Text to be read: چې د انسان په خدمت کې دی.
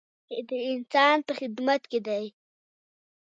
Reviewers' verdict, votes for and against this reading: accepted, 2, 0